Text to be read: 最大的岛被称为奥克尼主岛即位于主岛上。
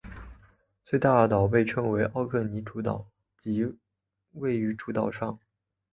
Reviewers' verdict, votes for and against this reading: accepted, 6, 1